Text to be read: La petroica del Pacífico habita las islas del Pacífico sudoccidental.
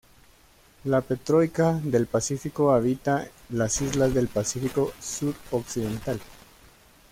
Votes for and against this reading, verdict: 0, 2, rejected